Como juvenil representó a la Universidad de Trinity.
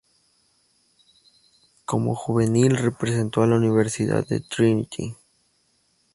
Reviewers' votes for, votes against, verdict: 2, 2, rejected